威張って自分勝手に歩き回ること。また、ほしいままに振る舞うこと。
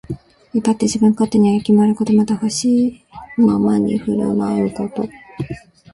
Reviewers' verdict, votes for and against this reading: rejected, 1, 3